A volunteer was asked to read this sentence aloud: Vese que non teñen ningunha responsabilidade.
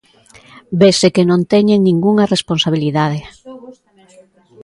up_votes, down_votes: 0, 2